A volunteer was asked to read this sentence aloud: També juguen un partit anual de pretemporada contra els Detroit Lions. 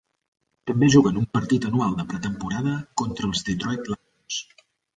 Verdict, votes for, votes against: rejected, 0, 2